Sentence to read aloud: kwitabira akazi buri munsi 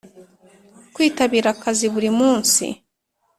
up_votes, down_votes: 2, 0